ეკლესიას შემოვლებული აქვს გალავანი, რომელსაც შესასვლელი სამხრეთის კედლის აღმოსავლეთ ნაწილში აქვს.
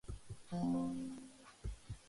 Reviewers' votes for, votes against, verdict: 0, 2, rejected